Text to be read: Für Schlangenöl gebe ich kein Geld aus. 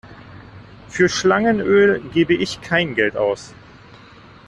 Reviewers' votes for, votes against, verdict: 2, 0, accepted